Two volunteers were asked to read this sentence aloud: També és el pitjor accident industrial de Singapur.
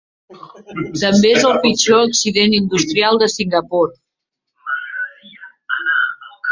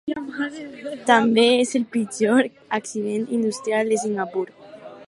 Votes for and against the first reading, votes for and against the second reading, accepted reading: 1, 2, 4, 0, second